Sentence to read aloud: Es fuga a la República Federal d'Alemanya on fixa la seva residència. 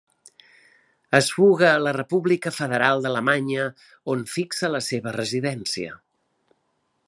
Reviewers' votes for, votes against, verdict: 3, 0, accepted